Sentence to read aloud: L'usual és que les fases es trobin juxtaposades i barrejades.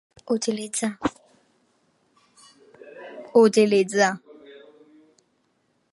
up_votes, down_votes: 0, 2